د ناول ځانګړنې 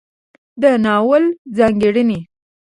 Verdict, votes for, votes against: accepted, 2, 0